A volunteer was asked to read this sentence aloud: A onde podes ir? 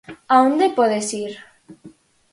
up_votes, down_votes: 4, 0